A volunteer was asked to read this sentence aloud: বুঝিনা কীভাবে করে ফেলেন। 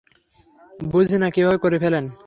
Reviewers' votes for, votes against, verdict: 3, 0, accepted